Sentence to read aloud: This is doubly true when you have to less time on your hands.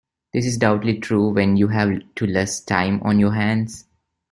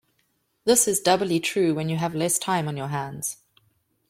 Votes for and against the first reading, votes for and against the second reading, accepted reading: 2, 0, 1, 2, first